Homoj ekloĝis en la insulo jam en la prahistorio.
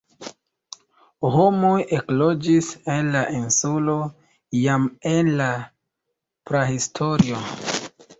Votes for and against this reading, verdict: 0, 3, rejected